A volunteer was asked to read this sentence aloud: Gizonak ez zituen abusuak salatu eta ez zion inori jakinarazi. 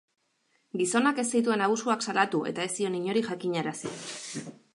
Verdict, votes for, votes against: accepted, 2, 0